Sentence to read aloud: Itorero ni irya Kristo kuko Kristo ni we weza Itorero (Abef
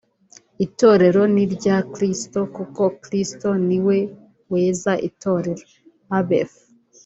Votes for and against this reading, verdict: 3, 0, accepted